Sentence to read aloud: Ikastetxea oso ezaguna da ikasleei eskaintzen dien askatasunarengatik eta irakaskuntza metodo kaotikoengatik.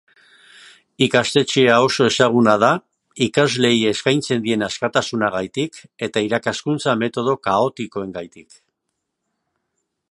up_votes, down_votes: 1, 2